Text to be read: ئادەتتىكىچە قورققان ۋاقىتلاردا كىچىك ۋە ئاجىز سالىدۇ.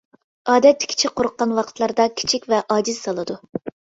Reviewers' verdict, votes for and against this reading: accepted, 2, 0